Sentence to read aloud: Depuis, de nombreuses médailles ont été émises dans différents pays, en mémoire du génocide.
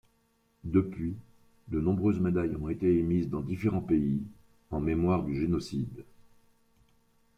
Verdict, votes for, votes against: accepted, 3, 0